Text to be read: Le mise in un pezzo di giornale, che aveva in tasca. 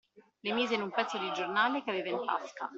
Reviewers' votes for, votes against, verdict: 2, 1, accepted